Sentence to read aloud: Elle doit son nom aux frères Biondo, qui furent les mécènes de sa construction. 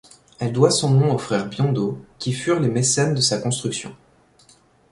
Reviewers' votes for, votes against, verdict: 3, 0, accepted